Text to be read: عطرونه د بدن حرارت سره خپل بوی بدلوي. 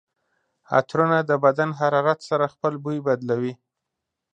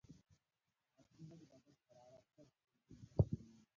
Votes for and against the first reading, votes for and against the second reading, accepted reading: 2, 0, 1, 2, first